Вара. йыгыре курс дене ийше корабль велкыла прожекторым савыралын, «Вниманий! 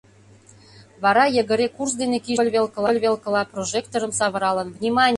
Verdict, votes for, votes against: rejected, 0, 2